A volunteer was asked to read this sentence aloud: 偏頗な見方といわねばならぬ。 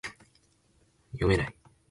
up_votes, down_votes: 8, 23